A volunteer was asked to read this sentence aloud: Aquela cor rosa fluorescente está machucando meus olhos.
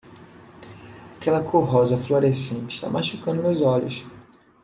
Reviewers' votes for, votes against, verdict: 2, 0, accepted